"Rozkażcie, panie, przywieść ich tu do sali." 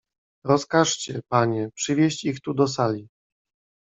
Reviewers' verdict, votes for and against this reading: accepted, 2, 0